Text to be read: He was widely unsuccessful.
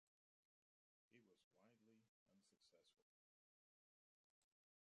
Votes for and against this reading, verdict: 0, 2, rejected